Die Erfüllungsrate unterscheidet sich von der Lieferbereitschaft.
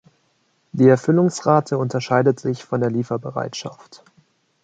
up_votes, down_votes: 2, 1